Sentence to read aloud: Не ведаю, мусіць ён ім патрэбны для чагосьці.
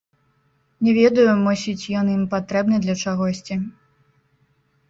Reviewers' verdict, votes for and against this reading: rejected, 0, 2